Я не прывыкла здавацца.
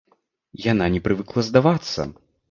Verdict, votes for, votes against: rejected, 0, 2